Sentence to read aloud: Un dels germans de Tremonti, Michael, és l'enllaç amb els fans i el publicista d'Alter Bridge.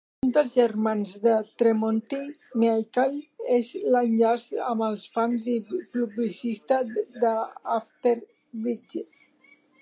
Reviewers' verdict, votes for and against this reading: rejected, 1, 2